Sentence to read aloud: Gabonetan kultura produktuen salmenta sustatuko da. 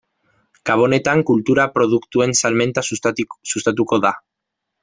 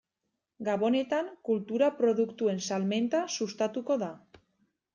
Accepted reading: second